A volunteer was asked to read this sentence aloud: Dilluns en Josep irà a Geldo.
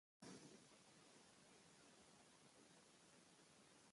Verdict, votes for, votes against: rejected, 1, 2